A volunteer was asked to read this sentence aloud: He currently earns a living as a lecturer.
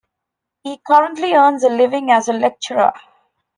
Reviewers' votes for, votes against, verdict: 2, 0, accepted